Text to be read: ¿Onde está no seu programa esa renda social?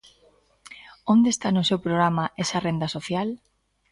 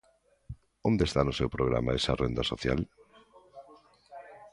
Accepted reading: first